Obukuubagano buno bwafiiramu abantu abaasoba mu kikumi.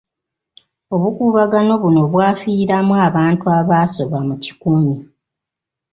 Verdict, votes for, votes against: rejected, 1, 2